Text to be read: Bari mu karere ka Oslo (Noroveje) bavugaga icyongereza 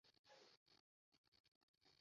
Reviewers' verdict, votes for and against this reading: rejected, 0, 2